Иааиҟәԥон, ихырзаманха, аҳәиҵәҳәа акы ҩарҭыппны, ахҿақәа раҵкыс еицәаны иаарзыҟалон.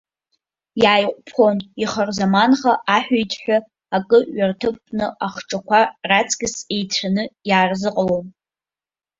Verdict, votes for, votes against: rejected, 1, 2